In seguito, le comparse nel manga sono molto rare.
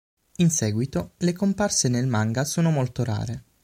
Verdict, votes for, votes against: accepted, 6, 0